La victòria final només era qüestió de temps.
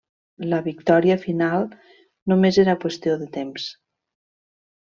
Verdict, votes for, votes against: accepted, 2, 1